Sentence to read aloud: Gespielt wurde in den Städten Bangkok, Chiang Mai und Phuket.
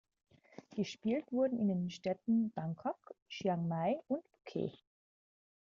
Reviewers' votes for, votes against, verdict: 2, 0, accepted